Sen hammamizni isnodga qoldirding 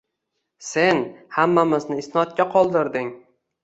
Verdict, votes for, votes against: accepted, 2, 0